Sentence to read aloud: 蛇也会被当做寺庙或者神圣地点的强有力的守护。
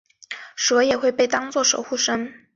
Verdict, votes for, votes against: rejected, 0, 2